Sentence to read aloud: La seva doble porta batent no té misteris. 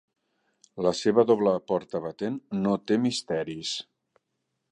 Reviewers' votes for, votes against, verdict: 3, 0, accepted